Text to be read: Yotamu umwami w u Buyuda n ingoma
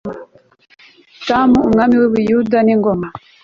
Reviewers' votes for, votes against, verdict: 3, 0, accepted